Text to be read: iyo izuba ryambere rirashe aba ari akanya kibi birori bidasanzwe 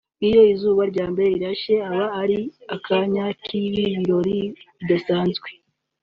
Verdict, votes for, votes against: accepted, 2, 0